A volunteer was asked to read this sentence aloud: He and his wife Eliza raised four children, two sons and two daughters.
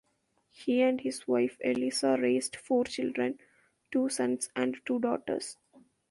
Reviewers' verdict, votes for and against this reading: accepted, 2, 0